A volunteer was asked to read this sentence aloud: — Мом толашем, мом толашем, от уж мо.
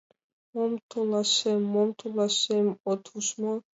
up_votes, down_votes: 2, 0